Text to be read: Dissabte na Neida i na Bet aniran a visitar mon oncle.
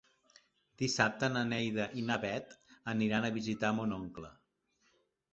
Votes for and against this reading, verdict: 2, 0, accepted